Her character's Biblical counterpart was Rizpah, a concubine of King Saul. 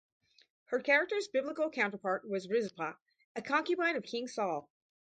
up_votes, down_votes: 4, 0